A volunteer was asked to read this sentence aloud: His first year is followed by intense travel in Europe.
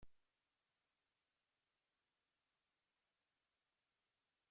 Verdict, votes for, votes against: rejected, 0, 2